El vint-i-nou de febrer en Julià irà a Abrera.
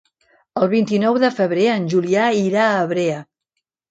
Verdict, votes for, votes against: rejected, 1, 2